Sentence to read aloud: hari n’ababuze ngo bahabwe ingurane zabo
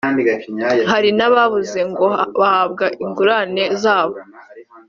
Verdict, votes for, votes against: rejected, 0, 2